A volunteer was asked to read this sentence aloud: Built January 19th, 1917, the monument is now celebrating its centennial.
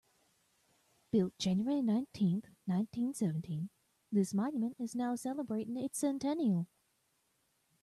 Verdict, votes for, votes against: rejected, 0, 2